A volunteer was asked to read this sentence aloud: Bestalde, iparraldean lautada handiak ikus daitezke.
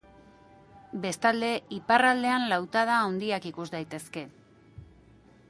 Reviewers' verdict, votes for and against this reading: accepted, 2, 0